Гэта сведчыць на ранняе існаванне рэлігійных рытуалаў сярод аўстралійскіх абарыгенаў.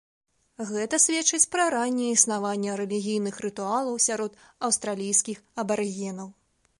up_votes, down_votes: 2, 4